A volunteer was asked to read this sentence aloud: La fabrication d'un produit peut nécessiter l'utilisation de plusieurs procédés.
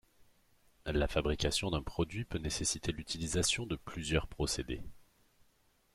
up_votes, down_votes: 2, 0